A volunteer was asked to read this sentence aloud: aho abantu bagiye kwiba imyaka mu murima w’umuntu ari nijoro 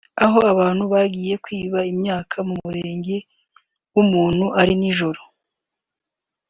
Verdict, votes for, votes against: rejected, 0, 2